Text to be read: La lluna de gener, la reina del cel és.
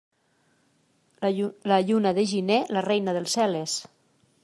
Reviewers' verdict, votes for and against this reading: rejected, 0, 2